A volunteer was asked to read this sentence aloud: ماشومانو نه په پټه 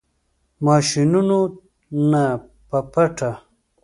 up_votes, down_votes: 0, 2